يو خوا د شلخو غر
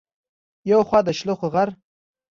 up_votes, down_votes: 2, 0